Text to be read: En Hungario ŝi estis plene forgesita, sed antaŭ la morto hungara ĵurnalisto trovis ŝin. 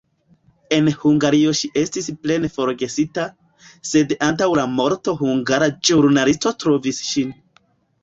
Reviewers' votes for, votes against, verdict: 0, 2, rejected